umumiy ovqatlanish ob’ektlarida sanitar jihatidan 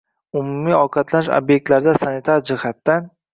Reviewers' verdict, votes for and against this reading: accepted, 2, 1